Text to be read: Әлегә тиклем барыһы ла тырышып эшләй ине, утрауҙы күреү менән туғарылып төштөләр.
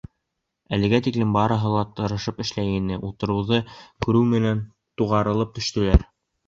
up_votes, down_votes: 2, 0